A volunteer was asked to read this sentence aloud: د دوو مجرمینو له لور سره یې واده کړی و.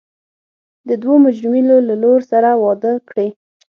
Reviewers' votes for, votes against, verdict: 0, 6, rejected